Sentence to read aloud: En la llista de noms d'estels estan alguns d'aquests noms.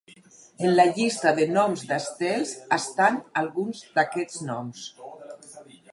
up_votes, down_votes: 4, 0